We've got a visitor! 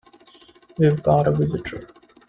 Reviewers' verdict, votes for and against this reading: accepted, 2, 0